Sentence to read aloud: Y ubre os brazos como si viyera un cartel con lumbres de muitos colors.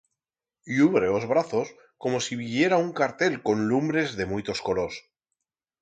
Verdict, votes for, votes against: accepted, 4, 0